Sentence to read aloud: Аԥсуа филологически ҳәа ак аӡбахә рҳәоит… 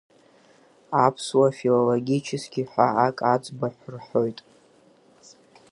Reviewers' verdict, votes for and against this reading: accepted, 5, 2